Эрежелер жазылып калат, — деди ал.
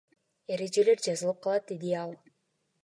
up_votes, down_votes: 2, 0